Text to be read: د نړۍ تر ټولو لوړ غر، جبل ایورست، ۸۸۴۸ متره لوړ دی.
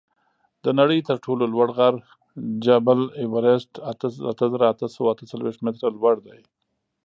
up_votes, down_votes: 0, 2